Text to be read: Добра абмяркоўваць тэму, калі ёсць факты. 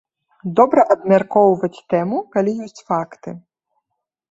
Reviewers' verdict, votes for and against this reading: accepted, 2, 0